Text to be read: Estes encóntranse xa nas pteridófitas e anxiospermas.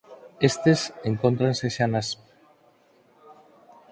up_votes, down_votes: 0, 4